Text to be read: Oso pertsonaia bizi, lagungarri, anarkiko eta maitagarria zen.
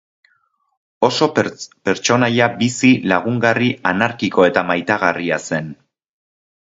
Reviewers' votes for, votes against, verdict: 0, 2, rejected